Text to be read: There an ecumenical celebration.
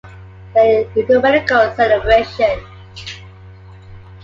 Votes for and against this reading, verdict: 2, 1, accepted